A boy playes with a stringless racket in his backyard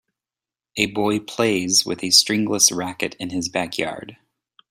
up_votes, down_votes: 2, 0